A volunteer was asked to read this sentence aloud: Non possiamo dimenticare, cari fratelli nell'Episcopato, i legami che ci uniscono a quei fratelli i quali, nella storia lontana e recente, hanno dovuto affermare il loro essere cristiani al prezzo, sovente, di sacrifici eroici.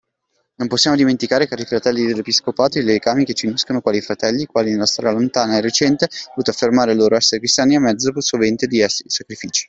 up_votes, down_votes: 0, 2